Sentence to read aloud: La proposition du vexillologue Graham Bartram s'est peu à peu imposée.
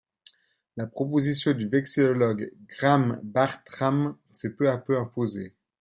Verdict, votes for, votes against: accepted, 2, 1